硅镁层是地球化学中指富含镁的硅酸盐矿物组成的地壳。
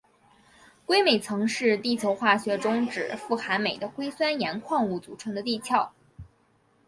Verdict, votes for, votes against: accepted, 2, 1